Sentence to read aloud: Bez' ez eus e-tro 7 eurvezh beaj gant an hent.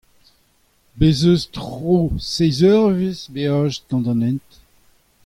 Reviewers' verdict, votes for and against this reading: rejected, 0, 2